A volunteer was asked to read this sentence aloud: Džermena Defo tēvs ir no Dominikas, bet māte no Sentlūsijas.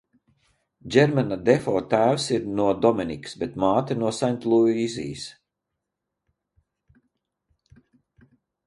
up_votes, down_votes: 0, 4